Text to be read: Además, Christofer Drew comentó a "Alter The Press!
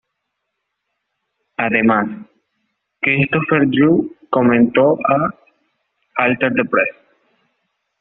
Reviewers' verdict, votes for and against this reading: accepted, 2, 0